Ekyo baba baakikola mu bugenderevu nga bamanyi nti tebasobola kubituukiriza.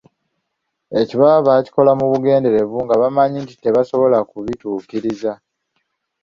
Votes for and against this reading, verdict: 2, 0, accepted